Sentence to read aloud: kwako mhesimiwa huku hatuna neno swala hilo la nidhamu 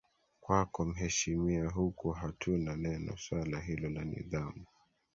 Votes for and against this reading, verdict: 3, 1, accepted